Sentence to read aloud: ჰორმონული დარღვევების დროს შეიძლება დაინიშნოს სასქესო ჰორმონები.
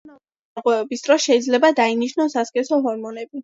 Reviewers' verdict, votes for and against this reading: accepted, 2, 1